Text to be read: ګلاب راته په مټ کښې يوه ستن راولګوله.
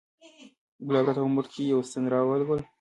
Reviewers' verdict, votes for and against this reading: accepted, 2, 0